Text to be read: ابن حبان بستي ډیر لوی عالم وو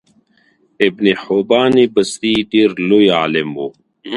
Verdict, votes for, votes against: accepted, 2, 0